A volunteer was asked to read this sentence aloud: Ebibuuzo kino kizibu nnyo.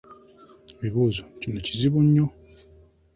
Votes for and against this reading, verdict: 2, 0, accepted